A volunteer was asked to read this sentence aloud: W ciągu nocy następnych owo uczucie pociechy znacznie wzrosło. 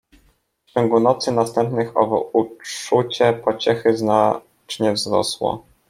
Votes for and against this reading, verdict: 0, 2, rejected